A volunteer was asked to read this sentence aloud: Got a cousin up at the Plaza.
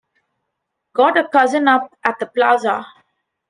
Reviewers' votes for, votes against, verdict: 2, 0, accepted